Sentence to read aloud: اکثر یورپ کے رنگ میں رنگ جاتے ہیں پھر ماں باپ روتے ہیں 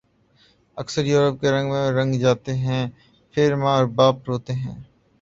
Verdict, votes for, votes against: accepted, 3, 0